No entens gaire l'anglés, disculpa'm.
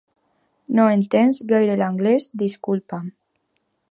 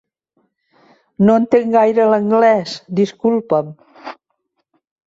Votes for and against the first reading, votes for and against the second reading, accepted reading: 2, 0, 0, 2, first